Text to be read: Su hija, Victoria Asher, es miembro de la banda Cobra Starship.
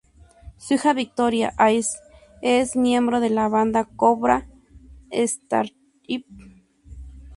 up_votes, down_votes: 2, 0